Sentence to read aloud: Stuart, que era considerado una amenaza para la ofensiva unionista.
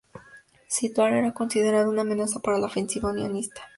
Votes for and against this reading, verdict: 0, 2, rejected